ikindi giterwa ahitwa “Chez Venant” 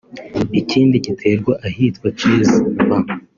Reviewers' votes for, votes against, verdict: 0, 2, rejected